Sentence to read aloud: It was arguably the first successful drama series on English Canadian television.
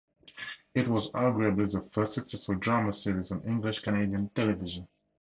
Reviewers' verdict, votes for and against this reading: accepted, 4, 0